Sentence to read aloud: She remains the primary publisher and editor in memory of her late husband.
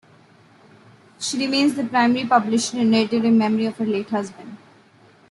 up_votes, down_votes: 2, 0